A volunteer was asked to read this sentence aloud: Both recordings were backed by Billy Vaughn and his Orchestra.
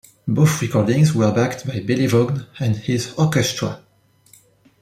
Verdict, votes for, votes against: accepted, 2, 0